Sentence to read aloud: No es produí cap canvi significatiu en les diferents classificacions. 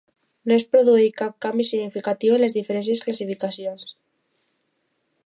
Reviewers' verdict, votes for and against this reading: rejected, 0, 2